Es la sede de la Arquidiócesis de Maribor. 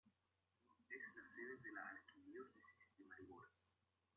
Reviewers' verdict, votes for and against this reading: rejected, 0, 2